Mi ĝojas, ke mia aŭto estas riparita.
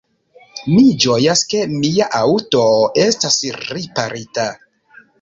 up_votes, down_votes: 2, 0